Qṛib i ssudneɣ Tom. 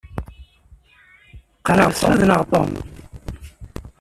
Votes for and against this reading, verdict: 1, 2, rejected